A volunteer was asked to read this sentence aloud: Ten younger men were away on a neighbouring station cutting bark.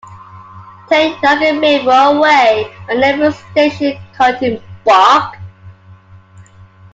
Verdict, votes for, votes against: rejected, 1, 2